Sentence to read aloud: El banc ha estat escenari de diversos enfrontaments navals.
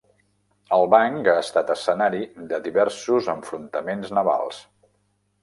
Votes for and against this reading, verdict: 3, 0, accepted